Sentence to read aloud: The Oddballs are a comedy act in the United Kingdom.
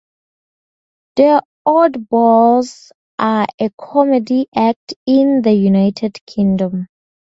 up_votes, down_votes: 0, 2